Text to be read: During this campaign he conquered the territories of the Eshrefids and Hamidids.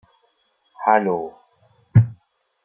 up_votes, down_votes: 0, 2